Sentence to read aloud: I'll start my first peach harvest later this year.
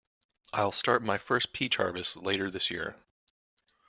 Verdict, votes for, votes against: rejected, 1, 2